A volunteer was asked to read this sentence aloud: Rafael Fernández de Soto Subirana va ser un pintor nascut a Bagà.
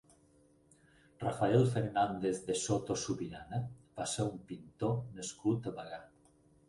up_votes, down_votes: 4, 0